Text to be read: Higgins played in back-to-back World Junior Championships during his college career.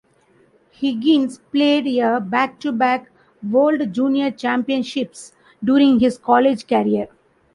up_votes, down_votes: 2, 1